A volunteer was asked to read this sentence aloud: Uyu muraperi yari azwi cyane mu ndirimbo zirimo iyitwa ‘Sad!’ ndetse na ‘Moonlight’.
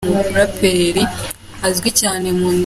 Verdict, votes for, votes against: rejected, 0, 2